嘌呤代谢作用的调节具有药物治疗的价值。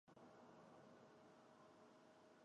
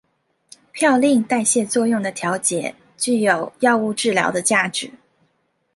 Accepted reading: second